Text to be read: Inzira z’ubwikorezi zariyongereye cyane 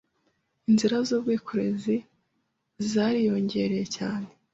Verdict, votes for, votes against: accepted, 2, 0